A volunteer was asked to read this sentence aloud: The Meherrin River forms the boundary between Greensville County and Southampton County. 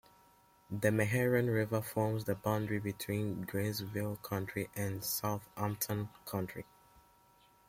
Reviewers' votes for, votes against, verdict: 0, 2, rejected